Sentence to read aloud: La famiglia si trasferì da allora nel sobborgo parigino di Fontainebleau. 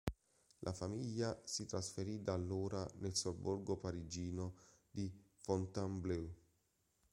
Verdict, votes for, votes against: accepted, 2, 0